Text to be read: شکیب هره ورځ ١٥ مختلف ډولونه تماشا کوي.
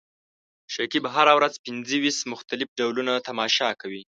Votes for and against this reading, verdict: 0, 2, rejected